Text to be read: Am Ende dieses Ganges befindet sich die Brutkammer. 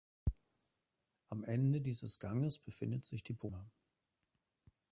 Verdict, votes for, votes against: rejected, 0, 2